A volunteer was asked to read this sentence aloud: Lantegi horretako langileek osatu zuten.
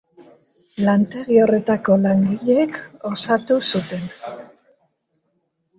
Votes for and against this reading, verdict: 3, 0, accepted